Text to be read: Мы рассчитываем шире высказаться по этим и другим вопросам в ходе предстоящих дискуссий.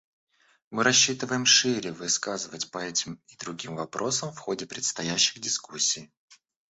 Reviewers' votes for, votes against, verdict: 0, 2, rejected